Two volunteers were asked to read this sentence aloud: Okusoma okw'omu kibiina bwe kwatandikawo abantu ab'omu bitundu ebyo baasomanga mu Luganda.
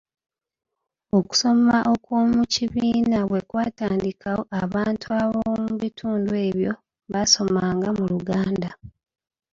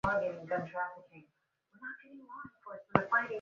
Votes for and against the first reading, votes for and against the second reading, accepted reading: 2, 1, 0, 2, first